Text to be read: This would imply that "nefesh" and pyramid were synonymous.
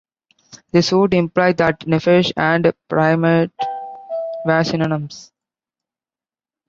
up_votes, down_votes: 0, 2